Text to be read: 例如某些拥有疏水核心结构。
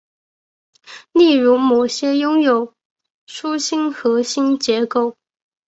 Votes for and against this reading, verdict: 1, 2, rejected